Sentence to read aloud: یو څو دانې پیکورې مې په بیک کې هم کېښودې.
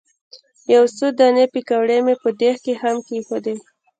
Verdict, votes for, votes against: rejected, 1, 2